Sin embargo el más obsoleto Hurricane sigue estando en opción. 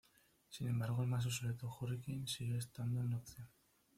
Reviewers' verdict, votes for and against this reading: rejected, 1, 2